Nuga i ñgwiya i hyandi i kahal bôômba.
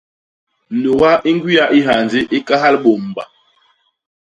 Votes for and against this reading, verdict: 0, 2, rejected